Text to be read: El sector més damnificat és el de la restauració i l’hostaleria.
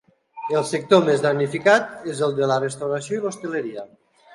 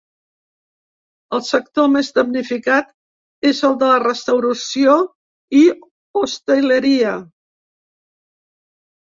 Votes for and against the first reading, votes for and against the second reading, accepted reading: 2, 1, 1, 2, first